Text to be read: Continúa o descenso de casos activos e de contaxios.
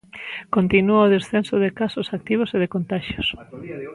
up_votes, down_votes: 1, 2